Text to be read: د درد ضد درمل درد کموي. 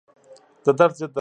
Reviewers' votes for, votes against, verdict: 0, 2, rejected